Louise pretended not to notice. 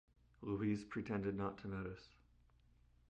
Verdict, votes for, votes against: accepted, 2, 0